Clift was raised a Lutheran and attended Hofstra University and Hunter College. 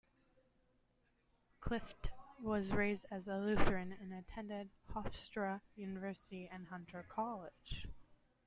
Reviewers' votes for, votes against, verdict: 2, 0, accepted